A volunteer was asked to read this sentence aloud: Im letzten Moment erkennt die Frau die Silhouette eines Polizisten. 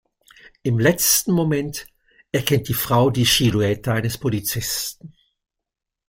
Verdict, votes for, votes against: rejected, 1, 2